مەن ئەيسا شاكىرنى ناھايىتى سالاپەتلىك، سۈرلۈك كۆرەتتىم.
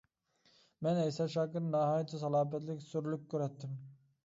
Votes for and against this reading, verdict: 2, 1, accepted